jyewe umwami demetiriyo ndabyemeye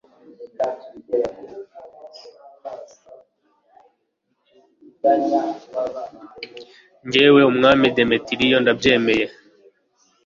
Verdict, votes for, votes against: rejected, 1, 2